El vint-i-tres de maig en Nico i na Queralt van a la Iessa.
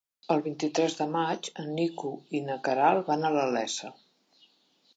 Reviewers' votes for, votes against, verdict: 2, 0, accepted